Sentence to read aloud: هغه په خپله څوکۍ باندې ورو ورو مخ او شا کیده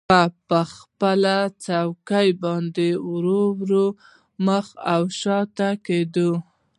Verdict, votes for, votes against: accepted, 2, 0